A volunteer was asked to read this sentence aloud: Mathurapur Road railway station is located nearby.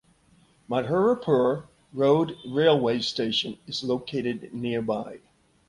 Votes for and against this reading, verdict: 2, 0, accepted